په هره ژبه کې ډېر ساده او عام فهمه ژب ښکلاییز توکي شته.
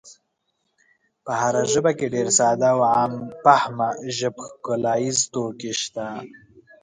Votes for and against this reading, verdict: 2, 0, accepted